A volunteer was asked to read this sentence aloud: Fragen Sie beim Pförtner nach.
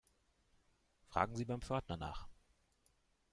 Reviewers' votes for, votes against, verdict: 2, 0, accepted